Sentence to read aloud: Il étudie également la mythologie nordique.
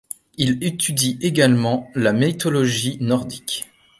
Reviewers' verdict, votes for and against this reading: rejected, 1, 2